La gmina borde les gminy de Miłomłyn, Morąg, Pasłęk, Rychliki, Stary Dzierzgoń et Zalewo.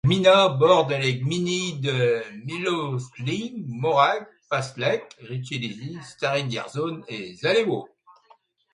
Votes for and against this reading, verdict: 0, 2, rejected